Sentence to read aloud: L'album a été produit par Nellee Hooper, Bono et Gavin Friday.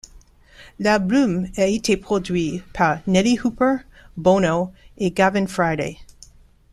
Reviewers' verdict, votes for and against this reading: accepted, 2, 0